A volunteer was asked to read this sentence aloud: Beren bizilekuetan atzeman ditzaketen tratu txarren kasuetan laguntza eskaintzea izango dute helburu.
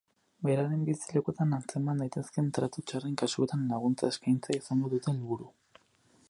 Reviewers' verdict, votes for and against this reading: rejected, 2, 4